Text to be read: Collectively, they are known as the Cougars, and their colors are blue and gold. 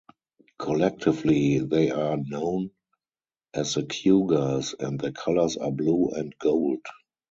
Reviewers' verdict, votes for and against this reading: rejected, 2, 2